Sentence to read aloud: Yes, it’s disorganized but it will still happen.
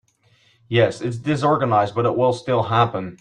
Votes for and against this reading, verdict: 2, 0, accepted